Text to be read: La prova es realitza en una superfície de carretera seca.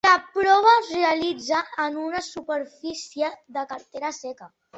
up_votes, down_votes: 2, 0